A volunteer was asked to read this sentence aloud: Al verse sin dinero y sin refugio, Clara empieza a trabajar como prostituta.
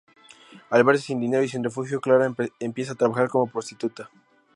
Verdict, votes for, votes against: accepted, 2, 0